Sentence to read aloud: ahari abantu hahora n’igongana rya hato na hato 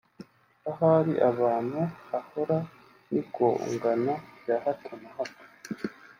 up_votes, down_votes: 2, 1